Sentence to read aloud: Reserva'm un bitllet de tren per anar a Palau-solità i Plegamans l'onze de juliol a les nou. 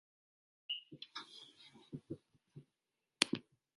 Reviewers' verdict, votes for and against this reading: rejected, 0, 3